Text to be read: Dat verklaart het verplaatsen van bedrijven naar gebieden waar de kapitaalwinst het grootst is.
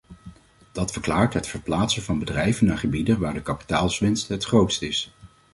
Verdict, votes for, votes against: rejected, 0, 2